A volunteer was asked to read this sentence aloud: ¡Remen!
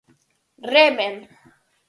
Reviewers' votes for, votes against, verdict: 4, 0, accepted